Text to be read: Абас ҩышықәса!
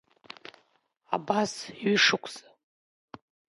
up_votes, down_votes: 0, 2